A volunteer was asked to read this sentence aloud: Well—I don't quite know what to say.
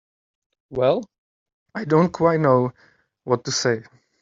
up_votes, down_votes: 2, 0